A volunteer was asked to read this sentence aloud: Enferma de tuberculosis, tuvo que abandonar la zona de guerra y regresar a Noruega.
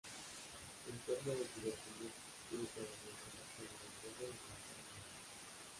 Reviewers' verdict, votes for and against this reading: rejected, 0, 2